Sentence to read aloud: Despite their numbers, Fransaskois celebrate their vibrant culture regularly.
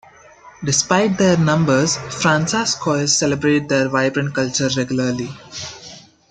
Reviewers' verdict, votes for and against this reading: accepted, 2, 0